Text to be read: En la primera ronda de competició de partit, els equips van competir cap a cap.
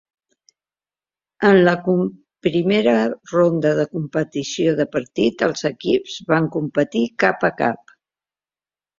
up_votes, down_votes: 1, 2